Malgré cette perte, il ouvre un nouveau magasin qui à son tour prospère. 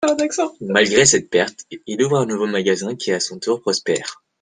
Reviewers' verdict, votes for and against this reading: rejected, 1, 2